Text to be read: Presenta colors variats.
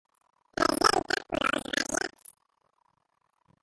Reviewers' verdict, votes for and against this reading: rejected, 0, 2